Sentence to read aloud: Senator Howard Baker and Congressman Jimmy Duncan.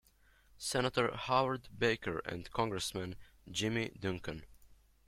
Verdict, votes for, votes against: accepted, 2, 0